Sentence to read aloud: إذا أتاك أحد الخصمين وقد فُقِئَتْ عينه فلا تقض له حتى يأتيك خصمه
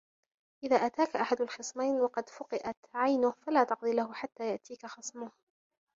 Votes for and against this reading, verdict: 3, 0, accepted